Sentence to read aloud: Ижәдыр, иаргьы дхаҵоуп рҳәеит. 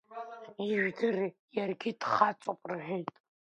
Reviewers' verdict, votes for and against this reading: accepted, 2, 0